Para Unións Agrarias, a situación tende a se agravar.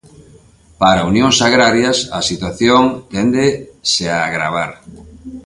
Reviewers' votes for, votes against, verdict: 0, 2, rejected